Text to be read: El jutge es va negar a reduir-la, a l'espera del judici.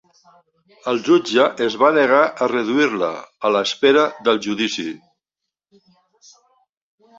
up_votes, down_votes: 1, 2